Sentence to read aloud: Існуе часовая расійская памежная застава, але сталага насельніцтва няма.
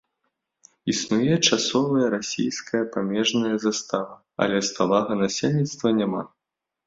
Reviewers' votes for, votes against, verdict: 0, 2, rejected